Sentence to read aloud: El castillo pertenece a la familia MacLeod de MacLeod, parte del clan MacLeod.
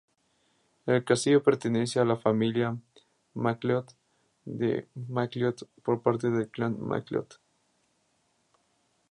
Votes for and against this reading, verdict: 0, 2, rejected